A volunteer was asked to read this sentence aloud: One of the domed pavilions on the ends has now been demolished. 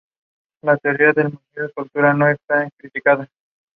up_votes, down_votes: 0, 2